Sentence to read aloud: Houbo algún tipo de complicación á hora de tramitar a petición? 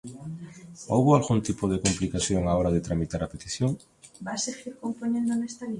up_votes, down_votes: 1, 2